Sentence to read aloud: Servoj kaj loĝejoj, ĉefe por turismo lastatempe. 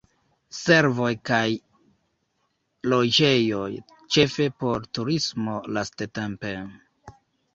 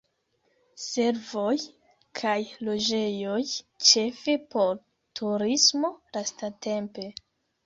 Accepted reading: second